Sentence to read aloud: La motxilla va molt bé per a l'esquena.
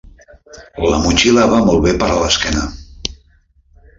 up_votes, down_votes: 1, 2